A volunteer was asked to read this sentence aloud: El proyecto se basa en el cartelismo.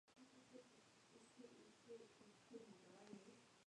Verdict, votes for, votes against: rejected, 0, 2